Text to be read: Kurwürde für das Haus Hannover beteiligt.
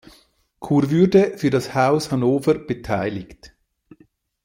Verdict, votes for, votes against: accepted, 2, 0